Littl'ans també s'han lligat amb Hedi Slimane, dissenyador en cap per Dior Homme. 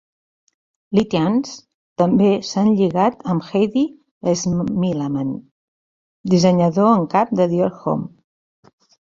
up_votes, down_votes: 0, 2